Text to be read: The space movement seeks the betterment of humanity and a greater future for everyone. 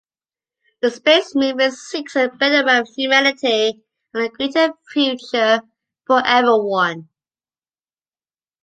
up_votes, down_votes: 2, 1